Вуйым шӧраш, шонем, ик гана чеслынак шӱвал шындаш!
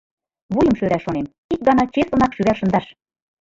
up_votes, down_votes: 0, 3